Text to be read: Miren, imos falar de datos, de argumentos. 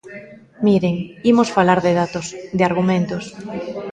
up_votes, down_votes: 0, 2